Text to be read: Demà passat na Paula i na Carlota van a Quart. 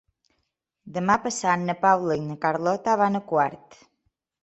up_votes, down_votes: 3, 0